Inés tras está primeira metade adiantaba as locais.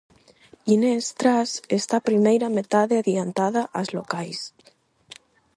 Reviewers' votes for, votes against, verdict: 0, 4, rejected